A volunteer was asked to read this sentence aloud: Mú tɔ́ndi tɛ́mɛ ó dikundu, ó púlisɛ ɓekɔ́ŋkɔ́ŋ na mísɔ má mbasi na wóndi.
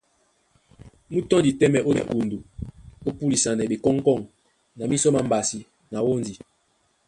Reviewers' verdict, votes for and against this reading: rejected, 1, 2